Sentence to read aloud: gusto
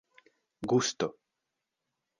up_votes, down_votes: 2, 1